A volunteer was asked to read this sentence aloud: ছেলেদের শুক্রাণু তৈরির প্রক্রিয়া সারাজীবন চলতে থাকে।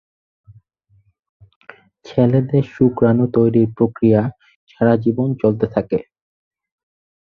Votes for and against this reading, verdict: 4, 0, accepted